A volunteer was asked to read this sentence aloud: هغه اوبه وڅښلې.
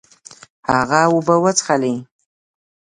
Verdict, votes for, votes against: accepted, 2, 0